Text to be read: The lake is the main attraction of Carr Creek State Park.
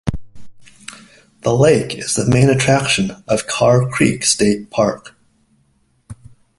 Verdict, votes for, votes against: accepted, 2, 0